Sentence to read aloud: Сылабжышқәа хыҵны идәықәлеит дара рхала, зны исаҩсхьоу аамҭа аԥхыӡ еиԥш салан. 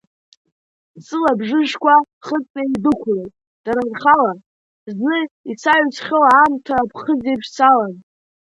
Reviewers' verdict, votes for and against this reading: accepted, 2, 1